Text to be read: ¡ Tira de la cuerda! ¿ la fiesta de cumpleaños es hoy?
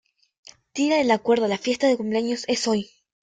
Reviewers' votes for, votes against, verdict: 1, 2, rejected